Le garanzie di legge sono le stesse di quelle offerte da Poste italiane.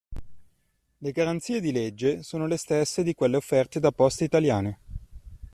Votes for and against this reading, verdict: 2, 0, accepted